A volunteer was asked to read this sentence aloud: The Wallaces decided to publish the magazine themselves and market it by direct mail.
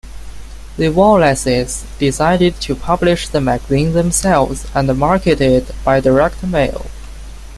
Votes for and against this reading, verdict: 2, 3, rejected